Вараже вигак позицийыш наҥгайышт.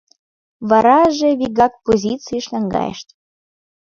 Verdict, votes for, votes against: accepted, 2, 0